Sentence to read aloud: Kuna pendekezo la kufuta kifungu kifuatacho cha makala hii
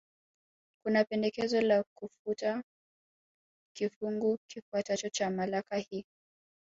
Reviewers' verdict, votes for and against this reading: rejected, 0, 2